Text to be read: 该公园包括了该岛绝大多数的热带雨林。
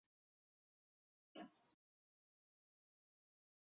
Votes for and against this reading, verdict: 0, 2, rejected